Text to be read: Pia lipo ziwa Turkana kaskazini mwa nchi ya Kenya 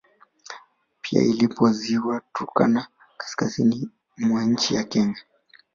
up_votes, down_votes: 1, 2